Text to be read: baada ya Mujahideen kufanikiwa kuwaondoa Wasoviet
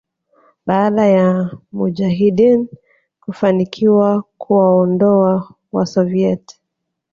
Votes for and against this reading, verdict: 2, 1, accepted